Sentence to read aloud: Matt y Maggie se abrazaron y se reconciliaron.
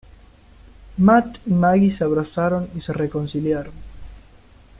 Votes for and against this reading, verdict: 2, 0, accepted